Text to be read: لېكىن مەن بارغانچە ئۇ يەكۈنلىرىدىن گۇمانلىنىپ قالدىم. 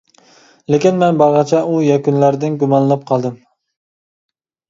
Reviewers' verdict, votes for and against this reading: rejected, 0, 2